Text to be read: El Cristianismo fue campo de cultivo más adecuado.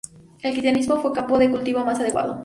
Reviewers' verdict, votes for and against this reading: rejected, 2, 2